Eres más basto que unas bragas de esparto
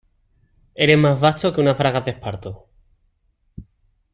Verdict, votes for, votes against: accepted, 2, 0